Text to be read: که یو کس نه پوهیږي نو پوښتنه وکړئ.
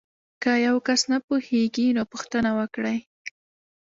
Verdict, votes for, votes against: accepted, 2, 0